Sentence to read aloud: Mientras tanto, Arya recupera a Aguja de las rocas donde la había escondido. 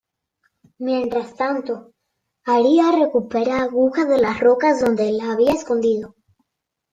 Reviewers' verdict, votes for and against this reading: rejected, 1, 2